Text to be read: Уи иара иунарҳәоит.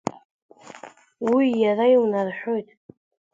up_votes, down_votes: 2, 0